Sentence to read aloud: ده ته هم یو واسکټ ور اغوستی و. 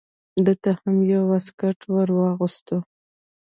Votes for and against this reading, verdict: 1, 2, rejected